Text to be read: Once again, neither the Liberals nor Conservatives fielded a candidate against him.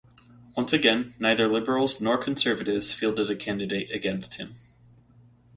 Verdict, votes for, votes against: rejected, 2, 2